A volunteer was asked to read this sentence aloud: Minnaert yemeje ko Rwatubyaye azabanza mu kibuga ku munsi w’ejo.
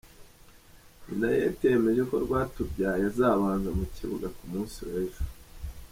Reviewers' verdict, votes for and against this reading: rejected, 0, 2